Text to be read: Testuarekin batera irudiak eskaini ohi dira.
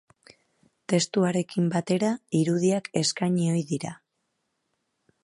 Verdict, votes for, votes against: accepted, 2, 0